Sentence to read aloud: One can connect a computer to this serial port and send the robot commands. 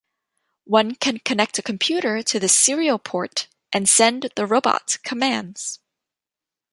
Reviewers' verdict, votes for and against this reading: accepted, 2, 0